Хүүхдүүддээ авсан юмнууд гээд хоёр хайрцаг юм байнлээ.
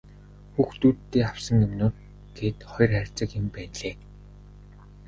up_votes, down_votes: 2, 0